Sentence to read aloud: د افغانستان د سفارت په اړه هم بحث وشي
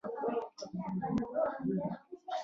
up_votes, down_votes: 1, 2